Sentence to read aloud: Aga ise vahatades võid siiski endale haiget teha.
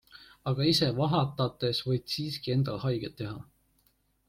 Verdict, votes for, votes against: accepted, 2, 0